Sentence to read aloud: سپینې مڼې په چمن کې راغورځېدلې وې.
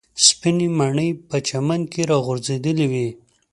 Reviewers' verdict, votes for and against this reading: accepted, 2, 0